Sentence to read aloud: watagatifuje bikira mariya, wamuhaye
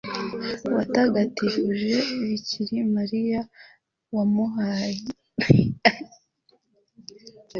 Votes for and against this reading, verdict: 1, 2, rejected